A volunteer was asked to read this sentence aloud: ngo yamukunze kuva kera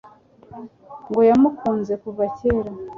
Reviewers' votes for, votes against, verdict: 2, 0, accepted